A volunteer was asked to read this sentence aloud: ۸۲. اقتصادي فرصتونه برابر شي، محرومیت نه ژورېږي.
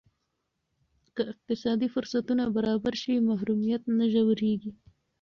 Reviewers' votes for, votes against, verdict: 0, 2, rejected